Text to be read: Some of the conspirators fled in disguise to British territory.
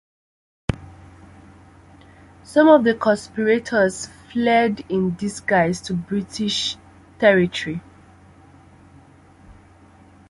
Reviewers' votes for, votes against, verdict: 2, 0, accepted